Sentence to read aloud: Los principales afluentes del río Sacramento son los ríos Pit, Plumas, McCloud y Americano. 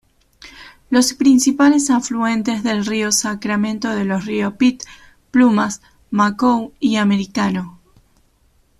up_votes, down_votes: 1, 2